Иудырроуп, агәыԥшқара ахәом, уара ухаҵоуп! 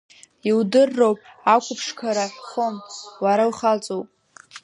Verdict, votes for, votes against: rejected, 0, 2